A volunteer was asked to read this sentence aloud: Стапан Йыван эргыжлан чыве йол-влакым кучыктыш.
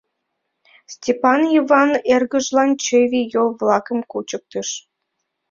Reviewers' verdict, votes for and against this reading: rejected, 0, 3